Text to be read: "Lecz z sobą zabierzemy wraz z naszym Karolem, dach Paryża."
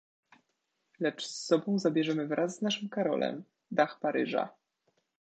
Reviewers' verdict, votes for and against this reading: accepted, 2, 0